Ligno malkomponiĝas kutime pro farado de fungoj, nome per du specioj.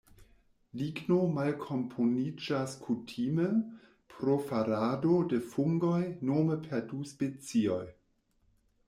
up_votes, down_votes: 2, 0